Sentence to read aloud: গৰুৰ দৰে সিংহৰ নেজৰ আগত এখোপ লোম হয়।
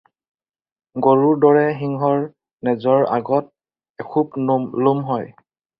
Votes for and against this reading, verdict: 2, 4, rejected